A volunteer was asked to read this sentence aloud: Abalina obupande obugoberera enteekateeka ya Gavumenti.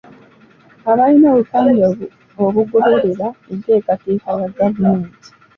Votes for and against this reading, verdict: 1, 2, rejected